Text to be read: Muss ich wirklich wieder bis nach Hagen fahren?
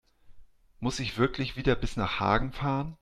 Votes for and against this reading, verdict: 2, 0, accepted